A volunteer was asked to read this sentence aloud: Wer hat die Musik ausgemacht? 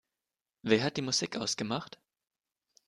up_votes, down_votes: 2, 0